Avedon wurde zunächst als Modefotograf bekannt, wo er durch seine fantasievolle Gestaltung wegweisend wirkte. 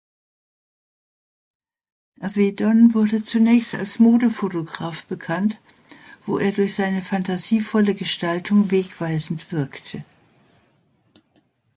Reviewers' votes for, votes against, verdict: 2, 0, accepted